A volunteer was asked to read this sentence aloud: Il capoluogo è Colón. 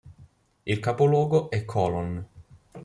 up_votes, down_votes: 0, 2